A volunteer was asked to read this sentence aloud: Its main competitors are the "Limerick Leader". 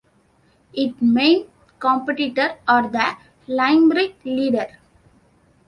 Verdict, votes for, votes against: rejected, 1, 2